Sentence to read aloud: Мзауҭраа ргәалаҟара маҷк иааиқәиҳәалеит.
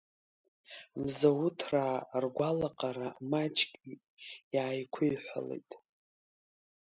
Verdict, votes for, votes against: rejected, 1, 2